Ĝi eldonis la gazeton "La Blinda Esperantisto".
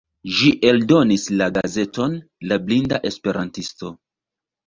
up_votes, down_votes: 2, 3